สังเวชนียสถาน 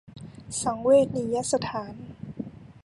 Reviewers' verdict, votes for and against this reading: rejected, 0, 2